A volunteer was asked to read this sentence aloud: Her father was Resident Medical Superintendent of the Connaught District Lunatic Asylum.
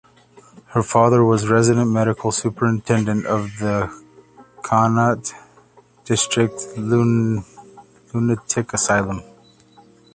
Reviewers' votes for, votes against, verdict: 0, 3, rejected